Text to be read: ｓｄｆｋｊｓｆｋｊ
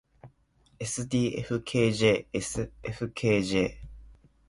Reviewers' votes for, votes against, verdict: 2, 0, accepted